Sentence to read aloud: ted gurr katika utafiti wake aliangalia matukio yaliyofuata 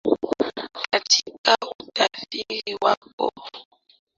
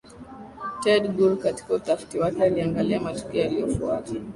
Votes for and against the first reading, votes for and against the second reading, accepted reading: 0, 2, 3, 1, second